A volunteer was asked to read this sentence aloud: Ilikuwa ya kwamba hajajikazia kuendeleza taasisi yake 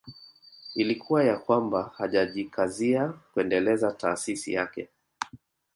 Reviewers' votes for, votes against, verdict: 0, 2, rejected